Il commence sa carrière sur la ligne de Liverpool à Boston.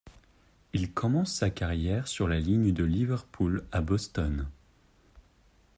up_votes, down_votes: 2, 0